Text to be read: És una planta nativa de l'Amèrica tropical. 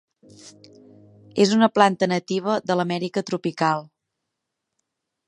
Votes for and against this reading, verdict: 2, 0, accepted